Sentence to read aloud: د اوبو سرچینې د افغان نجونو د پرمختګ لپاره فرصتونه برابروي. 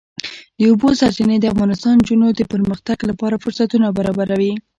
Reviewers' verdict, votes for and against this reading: accepted, 2, 1